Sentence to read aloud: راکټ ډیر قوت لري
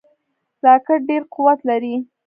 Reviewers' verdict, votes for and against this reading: accepted, 2, 0